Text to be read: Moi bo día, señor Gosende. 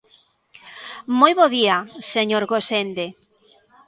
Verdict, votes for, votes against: rejected, 1, 2